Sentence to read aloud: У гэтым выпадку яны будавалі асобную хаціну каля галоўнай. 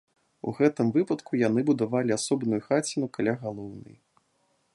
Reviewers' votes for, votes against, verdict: 0, 2, rejected